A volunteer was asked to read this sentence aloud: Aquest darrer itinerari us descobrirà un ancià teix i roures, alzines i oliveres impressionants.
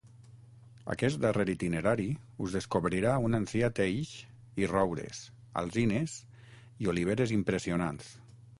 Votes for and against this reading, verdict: 6, 0, accepted